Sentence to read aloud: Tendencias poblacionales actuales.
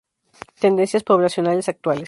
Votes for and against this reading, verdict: 2, 0, accepted